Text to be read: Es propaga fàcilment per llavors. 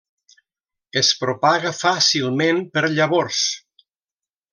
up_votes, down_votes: 3, 0